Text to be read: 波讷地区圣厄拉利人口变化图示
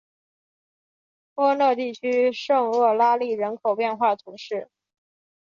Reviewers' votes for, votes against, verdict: 3, 0, accepted